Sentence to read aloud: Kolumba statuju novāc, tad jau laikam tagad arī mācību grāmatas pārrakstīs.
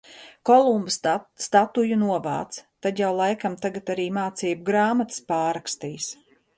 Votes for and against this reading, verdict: 1, 2, rejected